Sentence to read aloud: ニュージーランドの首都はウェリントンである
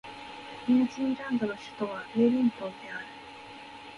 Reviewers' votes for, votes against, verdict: 0, 2, rejected